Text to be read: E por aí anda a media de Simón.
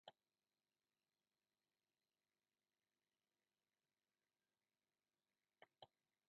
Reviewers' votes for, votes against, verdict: 0, 2, rejected